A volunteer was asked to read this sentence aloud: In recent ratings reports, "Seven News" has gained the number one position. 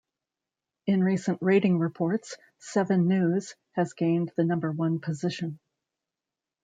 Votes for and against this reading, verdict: 2, 0, accepted